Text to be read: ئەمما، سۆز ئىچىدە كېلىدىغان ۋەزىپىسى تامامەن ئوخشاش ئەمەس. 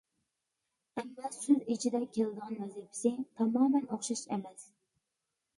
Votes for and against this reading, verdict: 0, 2, rejected